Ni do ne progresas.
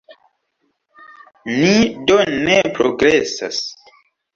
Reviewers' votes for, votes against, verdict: 2, 0, accepted